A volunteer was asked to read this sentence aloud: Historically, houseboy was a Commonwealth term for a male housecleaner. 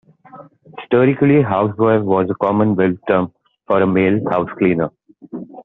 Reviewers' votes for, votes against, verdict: 2, 1, accepted